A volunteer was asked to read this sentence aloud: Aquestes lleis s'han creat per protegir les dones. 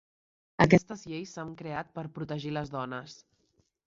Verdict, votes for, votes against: accepted, 3, 0